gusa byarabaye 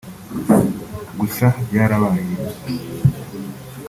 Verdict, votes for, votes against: accepted, 2, 1